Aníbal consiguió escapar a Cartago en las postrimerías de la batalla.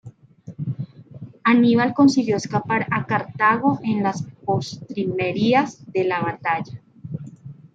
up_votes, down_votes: 1, 2